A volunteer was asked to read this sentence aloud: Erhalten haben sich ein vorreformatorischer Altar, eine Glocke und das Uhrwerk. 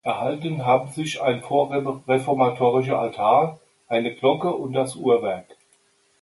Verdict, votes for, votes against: rejected, 1, 2